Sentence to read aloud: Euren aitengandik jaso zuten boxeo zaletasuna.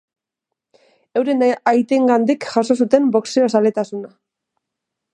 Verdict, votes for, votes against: rejected, 0, 2